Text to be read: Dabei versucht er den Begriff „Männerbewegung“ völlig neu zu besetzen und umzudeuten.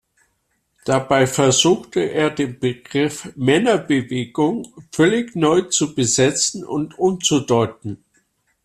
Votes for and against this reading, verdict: 0, 3, rejected